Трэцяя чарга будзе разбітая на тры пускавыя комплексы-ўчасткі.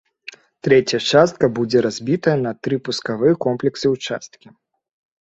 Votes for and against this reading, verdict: 0, 2, rejected